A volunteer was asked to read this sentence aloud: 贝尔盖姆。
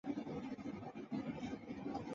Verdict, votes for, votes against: rejected, 2, 8